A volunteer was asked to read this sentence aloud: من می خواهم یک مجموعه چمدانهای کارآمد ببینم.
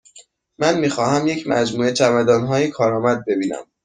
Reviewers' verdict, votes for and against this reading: accepted, 2, 0